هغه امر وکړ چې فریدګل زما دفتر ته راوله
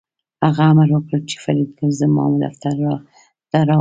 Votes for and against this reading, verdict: 2, 1, accepted